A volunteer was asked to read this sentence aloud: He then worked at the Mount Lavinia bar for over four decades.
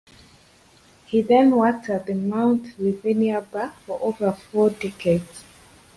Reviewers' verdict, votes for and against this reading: accepted, 2, 0